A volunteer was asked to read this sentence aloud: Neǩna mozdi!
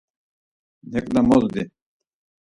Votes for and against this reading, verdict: 4, 0, accepted